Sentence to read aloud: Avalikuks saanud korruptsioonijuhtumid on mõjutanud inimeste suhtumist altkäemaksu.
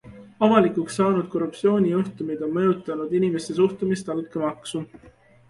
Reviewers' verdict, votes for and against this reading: accepted, 2, 0